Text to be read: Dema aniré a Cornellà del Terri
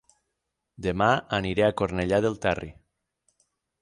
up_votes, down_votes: 9, 0